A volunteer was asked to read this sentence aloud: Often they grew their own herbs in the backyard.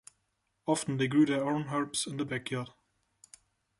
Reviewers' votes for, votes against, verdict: 2, 0, accepted